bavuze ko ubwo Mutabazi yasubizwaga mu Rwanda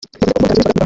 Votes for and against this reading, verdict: 1, 2, rejected